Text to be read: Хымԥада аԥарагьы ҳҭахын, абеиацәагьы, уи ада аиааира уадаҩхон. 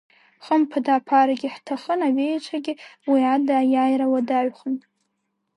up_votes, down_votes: 2, 0